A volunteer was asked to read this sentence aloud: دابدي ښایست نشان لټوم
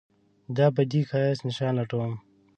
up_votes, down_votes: 2, 0